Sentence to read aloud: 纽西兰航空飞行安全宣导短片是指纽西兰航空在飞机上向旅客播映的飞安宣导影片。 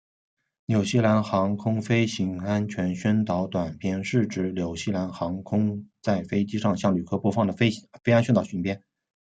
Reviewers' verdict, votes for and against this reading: rejected, 0, 2